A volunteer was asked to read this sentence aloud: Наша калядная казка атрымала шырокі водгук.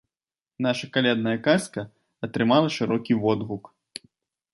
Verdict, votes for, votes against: accepted, 2, 0